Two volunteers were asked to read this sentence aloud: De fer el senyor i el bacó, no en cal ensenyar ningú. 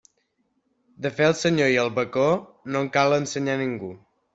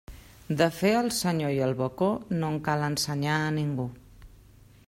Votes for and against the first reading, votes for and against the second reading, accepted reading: 3, 0, 1, 2, first